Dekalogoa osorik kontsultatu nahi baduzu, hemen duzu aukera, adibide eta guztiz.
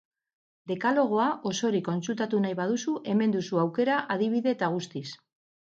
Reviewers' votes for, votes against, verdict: 6, 0, accepted